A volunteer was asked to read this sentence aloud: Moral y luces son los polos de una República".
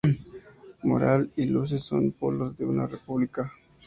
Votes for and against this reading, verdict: 2, 0, accepted